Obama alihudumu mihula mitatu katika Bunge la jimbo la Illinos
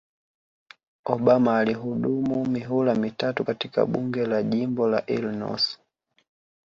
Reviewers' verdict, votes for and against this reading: accepted, 4, 2